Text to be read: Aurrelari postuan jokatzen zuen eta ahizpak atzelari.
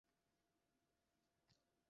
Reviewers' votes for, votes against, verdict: 0, 2, rejected